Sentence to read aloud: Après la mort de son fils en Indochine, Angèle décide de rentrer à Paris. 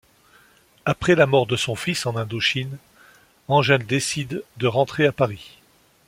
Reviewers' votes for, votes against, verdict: 2, 0, accepted